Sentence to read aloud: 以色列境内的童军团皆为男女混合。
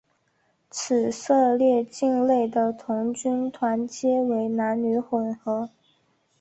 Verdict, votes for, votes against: accepted, 3, 1